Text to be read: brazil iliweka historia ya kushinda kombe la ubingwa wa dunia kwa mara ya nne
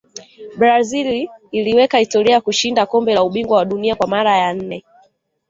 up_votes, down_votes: 1, 2